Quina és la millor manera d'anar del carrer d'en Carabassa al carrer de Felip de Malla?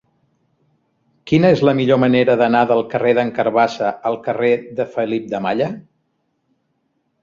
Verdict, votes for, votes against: accepted, 2, 0